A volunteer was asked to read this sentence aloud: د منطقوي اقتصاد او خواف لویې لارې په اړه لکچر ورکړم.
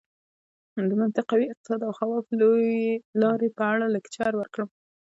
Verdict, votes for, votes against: rejected, 1, 2